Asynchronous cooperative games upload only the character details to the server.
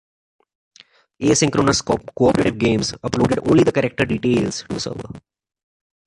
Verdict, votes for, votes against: accepted, 2, 1